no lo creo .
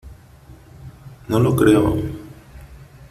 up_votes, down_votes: 2, 1